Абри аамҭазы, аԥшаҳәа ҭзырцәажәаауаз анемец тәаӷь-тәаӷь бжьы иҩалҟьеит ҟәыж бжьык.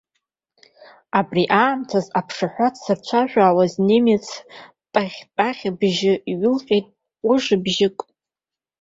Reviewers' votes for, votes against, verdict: 1, 2, rejected